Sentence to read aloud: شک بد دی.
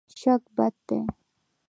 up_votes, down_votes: 1, 2